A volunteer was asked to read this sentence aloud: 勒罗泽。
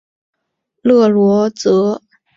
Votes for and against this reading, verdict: 0, 2, rejected